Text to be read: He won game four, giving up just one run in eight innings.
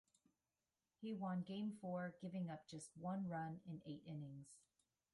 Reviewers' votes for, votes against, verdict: 1, 2, rejected